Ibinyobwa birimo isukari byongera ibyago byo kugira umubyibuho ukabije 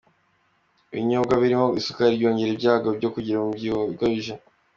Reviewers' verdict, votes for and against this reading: accepted, 2, 0